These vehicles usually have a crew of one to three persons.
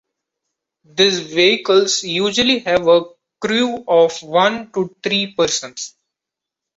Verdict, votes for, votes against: accepted, 2, 0